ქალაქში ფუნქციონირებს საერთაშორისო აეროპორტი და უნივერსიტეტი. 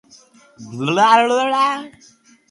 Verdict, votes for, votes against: rejected, 0, 3